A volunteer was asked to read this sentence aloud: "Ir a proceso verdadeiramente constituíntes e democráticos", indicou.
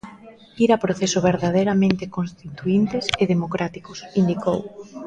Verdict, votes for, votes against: accepted, 2, 0